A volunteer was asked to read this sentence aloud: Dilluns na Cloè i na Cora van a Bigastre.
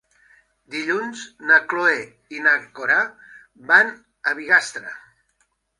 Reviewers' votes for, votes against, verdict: 0, 2, rejected